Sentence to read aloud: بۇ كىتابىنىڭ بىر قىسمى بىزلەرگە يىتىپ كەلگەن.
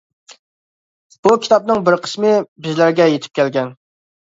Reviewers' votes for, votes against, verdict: 2, 1, accepted